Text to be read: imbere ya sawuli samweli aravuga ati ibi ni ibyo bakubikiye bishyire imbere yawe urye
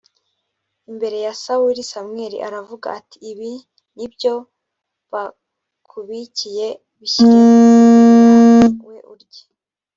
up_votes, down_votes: 1, 2